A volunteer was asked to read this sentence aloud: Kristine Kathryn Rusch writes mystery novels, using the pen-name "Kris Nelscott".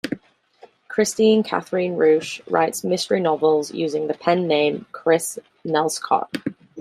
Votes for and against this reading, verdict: 2, 0, accepted